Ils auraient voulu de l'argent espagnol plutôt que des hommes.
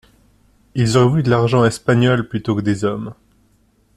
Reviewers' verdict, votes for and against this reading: rejected, 1, 2